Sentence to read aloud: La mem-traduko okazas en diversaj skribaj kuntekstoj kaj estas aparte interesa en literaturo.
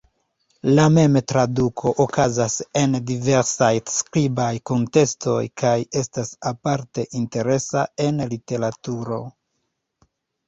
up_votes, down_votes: 1, 2